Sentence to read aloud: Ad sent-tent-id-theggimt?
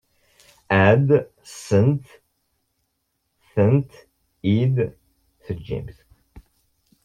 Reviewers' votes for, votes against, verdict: 0, 2, rejected